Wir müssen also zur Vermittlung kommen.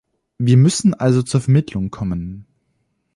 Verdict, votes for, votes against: accepted, 2, 0